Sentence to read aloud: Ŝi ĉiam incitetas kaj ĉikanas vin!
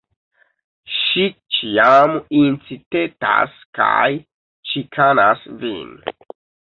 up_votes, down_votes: 0, 2